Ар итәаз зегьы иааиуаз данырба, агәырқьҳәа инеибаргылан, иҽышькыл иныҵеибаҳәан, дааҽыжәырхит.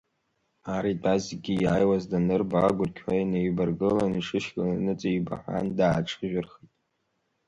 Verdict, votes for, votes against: rejected, 1, 2